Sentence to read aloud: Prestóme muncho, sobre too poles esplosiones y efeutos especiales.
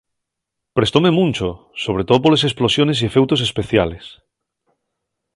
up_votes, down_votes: 2, 0